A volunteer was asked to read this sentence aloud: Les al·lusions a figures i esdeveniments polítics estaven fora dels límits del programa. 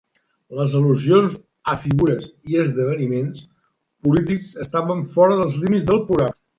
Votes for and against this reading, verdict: 0, 2, rejected